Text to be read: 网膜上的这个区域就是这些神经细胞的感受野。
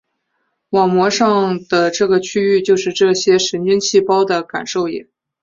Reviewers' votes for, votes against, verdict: 3, 0, accepted